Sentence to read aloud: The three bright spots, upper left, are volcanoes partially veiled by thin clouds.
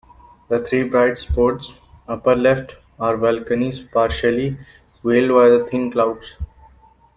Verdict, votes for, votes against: rejected, 0, 2